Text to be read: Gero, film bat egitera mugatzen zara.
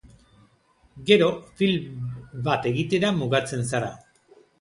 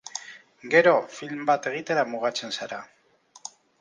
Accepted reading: first